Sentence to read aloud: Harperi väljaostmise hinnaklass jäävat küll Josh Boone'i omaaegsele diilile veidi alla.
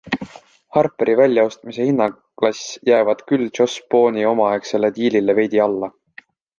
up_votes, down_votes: 2, 1